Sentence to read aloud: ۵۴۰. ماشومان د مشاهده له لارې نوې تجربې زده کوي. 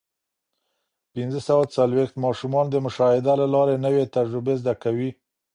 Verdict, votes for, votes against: rejected, 0, 2